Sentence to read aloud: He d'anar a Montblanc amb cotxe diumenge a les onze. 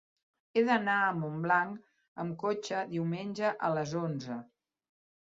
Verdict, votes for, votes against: accepted, 3, 0